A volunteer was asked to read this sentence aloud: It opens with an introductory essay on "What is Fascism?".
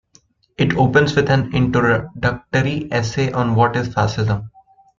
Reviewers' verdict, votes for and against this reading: rejected, 1, 2